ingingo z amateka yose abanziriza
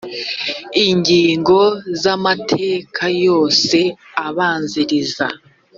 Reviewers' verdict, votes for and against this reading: accepted, 2, 0